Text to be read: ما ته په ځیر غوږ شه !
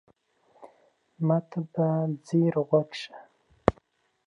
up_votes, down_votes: 2, 1